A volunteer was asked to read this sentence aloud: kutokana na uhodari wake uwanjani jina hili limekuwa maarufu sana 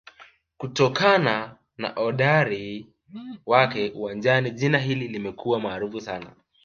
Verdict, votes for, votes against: rejected, 1, 2